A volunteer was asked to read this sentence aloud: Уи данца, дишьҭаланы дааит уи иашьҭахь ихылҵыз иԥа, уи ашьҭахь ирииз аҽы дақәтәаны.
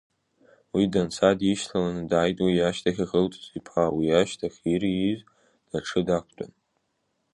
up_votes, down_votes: 0, 2